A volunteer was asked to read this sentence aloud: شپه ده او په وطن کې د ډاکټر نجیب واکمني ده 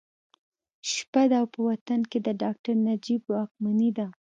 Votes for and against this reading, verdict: 2, 0, accepted